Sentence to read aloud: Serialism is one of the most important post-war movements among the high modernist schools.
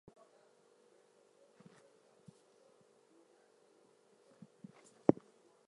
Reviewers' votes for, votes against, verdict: 0, 4, rejected